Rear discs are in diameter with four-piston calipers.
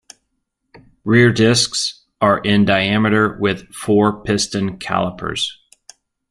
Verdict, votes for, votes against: accepted, 2, 0